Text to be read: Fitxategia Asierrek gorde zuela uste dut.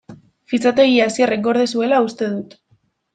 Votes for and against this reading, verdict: 2, 1, accepted